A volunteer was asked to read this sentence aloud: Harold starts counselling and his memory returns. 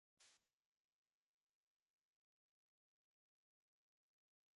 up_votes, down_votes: 0, 2